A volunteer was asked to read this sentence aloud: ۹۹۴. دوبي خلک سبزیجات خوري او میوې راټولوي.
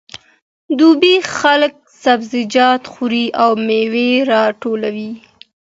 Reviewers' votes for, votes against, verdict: 0, 2, rejected